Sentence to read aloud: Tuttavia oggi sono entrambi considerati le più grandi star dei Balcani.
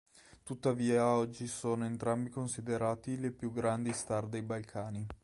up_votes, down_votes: 2, 0